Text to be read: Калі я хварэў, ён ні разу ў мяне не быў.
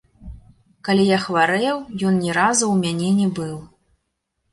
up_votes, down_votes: 0, 2